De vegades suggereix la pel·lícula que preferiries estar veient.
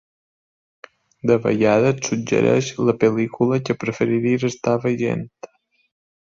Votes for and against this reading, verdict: 0, 2, rejected